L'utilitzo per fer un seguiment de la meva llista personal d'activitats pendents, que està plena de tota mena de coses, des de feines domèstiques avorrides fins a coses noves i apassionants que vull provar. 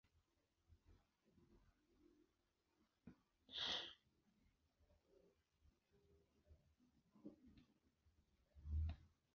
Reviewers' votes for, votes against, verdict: 0, 2, rejected